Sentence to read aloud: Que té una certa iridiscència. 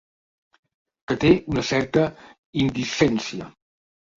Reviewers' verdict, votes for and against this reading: rejected, 0, 2